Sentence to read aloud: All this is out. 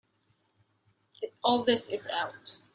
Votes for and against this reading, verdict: 2, 0, accepted